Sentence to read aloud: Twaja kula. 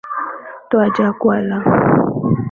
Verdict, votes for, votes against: accepted, 6, 3